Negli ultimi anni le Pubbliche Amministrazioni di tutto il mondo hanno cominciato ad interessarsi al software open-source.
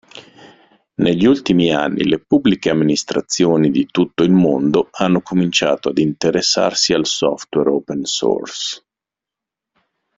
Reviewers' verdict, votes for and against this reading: accepted, 2, 0